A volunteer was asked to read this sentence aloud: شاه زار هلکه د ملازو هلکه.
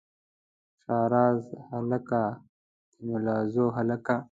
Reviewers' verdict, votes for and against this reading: rejected, 1, 2